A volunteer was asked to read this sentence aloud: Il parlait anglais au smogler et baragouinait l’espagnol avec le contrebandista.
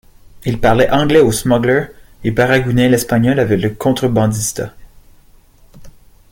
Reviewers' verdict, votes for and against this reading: accepted, 2, 0